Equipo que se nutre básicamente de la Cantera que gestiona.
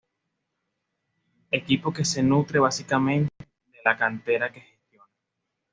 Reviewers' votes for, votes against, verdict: 2, 0, accepted